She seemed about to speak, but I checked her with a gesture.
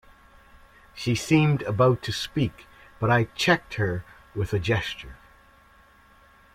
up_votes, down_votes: 2, 0